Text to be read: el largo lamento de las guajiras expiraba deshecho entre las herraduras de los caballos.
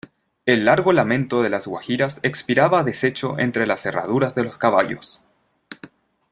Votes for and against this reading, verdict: 2, 0, accepted